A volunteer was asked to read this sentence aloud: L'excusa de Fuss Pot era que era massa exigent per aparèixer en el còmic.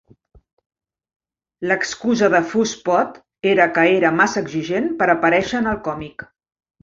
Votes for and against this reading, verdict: 2, 0, accepted